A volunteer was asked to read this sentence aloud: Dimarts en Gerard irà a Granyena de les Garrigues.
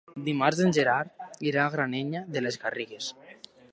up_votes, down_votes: 1, 2